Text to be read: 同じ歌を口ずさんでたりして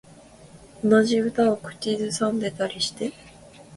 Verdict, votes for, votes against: accepted, 2, 0